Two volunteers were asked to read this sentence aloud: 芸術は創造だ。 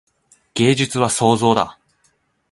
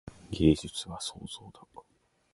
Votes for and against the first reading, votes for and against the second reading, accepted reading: 4, 0, 1, 2, first